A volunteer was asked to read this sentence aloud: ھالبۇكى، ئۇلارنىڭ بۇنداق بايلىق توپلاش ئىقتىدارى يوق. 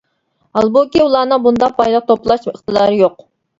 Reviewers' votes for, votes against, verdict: 1, 2, rejected